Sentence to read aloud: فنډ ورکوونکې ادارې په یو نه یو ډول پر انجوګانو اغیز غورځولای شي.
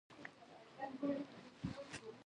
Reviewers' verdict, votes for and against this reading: rejected, 1, 2